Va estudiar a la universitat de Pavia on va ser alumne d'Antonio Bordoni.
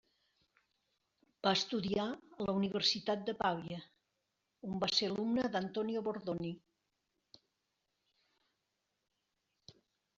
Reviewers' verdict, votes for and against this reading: rejected, 1, 2